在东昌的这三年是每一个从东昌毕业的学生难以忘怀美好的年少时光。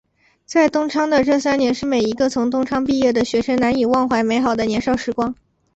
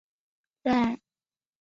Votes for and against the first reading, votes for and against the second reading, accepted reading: 3, 2, 0, 2, first